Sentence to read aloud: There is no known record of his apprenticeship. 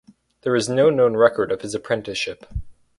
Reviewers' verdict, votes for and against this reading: accepted, 4, 0